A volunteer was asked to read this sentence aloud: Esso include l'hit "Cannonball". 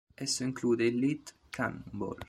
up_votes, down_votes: 0, 2